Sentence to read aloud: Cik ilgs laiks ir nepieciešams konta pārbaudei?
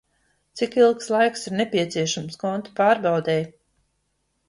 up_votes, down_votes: 2, 0